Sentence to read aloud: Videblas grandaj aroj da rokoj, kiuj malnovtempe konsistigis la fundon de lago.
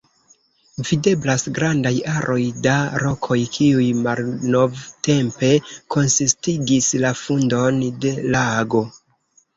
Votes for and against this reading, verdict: 1, 2, rejected